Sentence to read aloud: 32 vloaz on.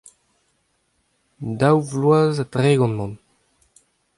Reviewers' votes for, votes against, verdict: 0, 2, rejected